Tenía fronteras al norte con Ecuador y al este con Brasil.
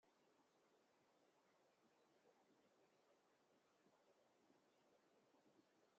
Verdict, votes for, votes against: rejected, 0, 2